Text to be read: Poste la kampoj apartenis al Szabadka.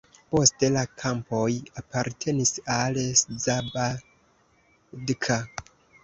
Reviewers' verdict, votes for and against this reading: rejected, 0, 2